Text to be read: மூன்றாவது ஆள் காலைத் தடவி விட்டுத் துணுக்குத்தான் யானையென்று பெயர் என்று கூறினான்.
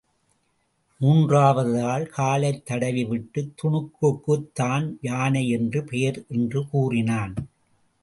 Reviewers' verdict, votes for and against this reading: rejected, 0, 2